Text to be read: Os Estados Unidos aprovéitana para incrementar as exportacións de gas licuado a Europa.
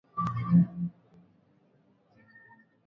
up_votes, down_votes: 0, 2